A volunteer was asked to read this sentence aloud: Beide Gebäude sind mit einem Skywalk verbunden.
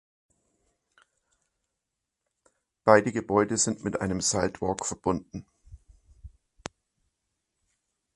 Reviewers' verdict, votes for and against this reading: rejected, 0, 2